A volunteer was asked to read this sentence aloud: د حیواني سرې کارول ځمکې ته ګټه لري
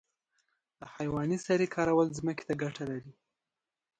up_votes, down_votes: 2, 0